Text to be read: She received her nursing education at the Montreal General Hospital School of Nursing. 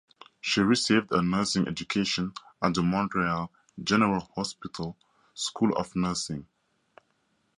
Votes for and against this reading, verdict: 4, 0, accepted